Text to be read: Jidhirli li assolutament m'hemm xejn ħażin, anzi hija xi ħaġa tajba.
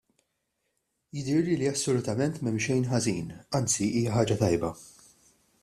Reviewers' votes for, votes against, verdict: 1, 2, rejected